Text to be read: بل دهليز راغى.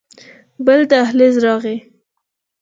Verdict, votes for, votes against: accepted, 4, 0